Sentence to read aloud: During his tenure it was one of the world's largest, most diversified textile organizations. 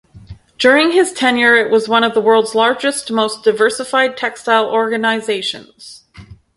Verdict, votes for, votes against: rejected, 2, 2